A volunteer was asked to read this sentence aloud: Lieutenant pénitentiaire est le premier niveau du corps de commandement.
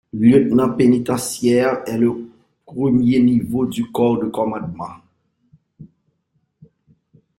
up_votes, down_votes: 1, 2